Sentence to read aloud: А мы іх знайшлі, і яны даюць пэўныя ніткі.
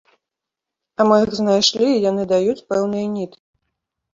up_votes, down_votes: 0, 2